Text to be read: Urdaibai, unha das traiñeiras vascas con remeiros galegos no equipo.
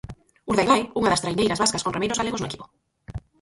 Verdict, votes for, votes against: rejected, 0, 4